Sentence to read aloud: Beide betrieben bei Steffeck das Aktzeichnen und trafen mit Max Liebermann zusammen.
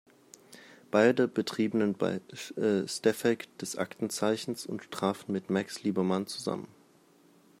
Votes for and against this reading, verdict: 0, 2, rejected